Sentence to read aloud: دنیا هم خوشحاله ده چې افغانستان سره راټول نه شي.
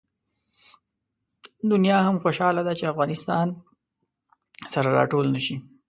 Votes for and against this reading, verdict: 2, 0, accepted